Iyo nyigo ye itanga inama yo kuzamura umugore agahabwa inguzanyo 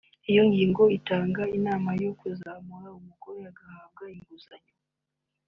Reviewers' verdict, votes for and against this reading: rejected, 1, 2